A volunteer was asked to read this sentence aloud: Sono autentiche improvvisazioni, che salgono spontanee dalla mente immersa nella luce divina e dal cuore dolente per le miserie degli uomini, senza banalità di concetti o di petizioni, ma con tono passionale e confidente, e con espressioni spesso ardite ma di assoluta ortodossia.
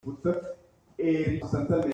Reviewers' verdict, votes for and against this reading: rejected, 0, 2